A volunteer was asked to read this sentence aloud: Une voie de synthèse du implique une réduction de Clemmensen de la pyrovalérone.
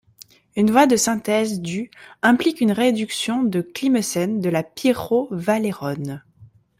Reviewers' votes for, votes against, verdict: 0, 2, rejected